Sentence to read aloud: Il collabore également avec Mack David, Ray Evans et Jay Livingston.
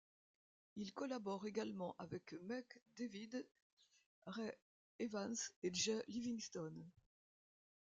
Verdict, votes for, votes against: rejected, 1, 2